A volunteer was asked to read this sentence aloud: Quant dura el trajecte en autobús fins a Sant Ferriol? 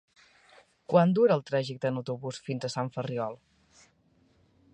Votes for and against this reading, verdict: 3, 0, accepted